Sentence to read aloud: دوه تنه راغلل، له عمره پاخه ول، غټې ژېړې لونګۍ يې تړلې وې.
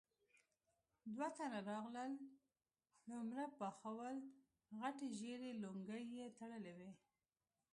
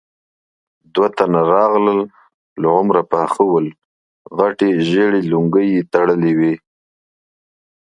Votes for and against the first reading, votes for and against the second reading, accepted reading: 0, 2, 2, 0, second